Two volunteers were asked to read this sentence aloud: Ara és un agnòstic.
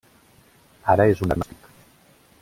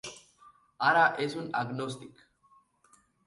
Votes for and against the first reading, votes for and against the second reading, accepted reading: 0, 2, 4, 0, second